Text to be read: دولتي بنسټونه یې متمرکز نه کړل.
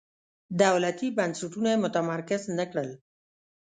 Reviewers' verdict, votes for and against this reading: accepted, 2, 0